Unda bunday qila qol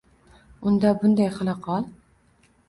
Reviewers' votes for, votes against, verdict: 2, 0, accepted